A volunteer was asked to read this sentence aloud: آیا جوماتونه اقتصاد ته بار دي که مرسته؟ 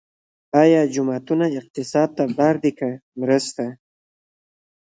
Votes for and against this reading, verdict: 1, 2, rejected